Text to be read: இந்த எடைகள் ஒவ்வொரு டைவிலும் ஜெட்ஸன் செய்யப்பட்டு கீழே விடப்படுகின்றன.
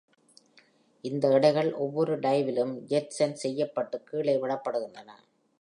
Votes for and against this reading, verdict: 3, 0, accepted